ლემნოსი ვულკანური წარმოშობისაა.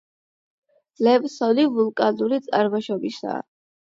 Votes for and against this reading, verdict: 4, 8, rejected